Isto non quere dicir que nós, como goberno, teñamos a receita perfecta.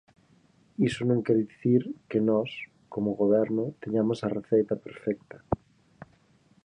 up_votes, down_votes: 0, 4